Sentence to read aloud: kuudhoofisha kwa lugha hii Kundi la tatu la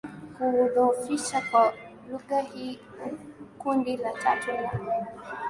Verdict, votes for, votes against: accepted, 24, 4